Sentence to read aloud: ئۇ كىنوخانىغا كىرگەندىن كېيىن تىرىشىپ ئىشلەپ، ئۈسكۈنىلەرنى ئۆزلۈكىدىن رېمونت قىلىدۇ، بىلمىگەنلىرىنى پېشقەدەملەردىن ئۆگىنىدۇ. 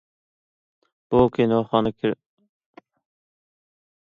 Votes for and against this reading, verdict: 0, 2, rejected